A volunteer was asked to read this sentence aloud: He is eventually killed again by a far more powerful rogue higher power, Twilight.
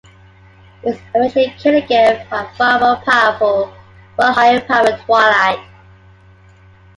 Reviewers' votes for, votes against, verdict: 2, 1, accepted